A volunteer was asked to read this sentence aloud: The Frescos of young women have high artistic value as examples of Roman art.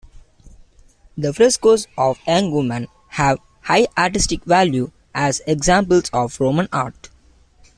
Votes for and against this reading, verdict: 2, 0, accepted